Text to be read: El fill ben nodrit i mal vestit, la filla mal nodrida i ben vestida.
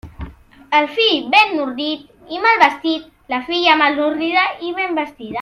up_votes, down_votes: 1, 2